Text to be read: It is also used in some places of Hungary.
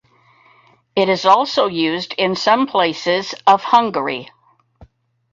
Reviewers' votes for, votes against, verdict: 2, 2, rejected